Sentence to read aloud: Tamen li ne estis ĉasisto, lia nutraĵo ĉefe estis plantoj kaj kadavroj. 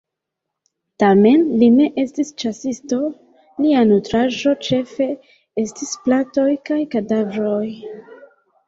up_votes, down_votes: 1, 2